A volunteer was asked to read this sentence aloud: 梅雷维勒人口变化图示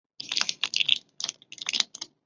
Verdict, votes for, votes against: rejected, 0, 2